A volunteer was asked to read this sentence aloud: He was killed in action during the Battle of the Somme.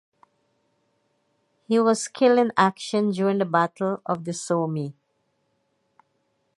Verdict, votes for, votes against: accepted, 2, 0